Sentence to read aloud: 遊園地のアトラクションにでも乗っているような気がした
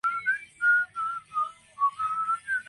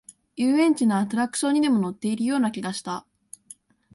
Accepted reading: second